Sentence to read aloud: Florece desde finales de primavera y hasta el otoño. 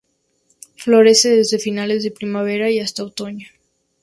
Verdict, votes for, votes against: rejected, 0, 2